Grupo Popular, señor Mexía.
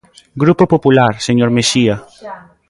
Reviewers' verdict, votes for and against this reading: rejected, 1, 2